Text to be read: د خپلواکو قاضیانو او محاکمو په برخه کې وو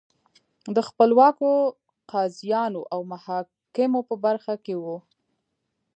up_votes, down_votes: 1, 2